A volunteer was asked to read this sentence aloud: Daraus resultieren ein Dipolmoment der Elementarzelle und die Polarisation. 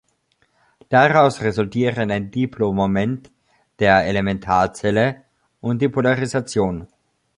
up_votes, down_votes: 0, 2